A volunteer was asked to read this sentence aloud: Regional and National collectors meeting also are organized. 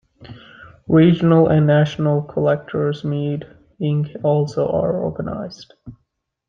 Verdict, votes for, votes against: rejected, 1, 2